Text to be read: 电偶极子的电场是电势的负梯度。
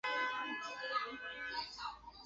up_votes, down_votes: 1, 4